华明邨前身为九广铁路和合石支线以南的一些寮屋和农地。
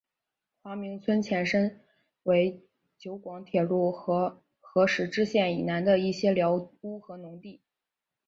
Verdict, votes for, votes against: accepted, 4, 3